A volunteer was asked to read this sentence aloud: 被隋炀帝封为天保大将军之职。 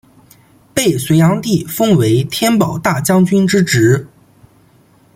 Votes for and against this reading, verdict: 2, 0, accepted